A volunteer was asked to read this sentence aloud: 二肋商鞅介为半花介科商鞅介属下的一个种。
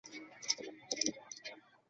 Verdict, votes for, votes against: rejected, 0, 3